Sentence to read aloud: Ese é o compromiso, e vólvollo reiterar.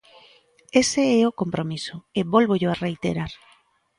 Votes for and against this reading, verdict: 1, 2, rejected